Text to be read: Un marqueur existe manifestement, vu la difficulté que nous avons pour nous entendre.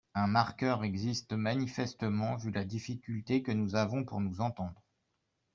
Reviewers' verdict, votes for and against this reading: accepted, 2, 0